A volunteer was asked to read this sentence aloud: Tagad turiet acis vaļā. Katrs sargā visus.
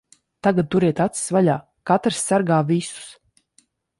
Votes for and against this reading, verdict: 2, 0, accepted